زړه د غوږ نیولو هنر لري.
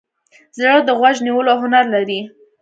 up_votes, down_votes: 2, 0